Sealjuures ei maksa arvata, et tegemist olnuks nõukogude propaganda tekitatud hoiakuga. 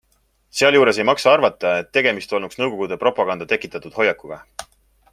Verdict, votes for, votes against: accepted, 2, 0